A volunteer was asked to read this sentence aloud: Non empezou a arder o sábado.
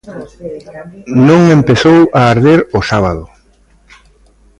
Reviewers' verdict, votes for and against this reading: rejected, 0, 2